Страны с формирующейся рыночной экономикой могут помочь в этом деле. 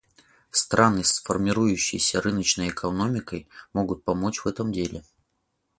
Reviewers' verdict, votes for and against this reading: accepted, 4, 0